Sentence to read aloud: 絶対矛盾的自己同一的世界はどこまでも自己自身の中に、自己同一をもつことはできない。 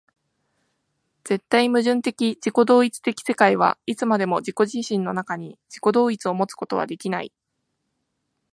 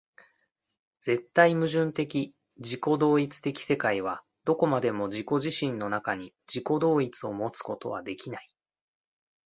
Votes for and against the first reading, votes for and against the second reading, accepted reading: 0, 2, 2, 0, second